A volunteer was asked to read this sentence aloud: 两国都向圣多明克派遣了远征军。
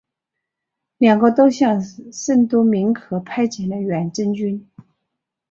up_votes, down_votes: 2, 0